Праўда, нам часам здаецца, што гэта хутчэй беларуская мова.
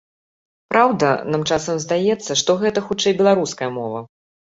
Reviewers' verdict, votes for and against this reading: accepted, 2, 0